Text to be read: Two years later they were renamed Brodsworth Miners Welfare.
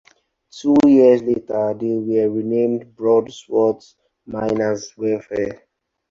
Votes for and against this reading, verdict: 0, 4, rejected